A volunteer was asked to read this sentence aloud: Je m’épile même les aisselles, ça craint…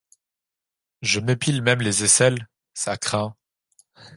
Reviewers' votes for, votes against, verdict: 2, 0, accepted